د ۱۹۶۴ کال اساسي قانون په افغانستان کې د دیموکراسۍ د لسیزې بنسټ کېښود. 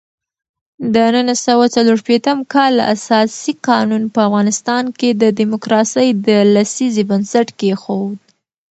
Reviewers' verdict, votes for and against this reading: rejected, 0, 2